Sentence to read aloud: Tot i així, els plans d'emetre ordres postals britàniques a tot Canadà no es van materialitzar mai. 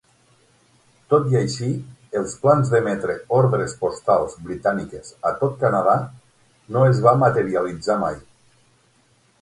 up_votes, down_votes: 6, 9